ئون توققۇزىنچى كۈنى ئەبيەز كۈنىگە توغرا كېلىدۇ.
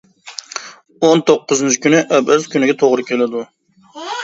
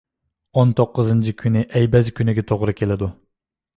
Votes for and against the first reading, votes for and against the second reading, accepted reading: 0, 2, 2, 0, second